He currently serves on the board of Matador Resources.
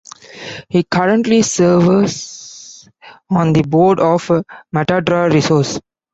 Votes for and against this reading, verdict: 1, 2, rejected